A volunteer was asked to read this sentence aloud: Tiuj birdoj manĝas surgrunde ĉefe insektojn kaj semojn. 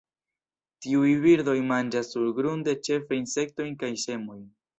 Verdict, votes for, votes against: accepted, 2, 0